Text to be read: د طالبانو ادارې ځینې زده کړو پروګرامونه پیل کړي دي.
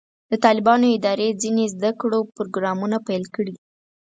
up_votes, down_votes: 2, 4